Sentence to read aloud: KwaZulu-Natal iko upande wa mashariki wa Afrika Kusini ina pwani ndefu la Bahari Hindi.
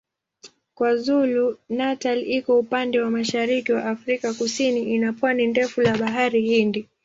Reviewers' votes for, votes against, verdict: 3, 0, accepted